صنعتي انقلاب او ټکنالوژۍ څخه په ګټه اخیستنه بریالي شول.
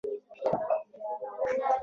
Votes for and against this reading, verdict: 0, 2, rejected